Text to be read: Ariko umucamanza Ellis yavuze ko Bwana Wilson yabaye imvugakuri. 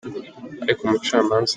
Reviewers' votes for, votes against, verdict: 0, 3, rejected